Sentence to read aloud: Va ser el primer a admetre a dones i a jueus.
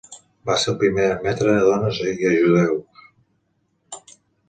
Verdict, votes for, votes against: rejected, 1, 2